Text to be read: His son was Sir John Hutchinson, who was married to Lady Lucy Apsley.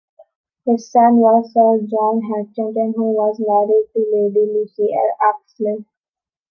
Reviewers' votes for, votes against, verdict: 1, 2, rejected